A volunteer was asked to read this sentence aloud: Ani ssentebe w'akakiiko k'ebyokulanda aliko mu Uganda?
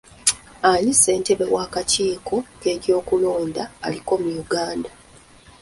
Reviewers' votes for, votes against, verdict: 1, 2, rejected